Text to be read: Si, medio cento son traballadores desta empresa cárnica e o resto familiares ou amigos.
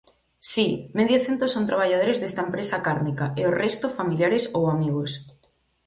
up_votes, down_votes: 4, 0